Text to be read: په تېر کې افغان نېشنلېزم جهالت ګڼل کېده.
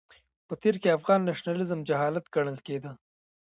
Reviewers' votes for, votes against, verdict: 0, 2, rejected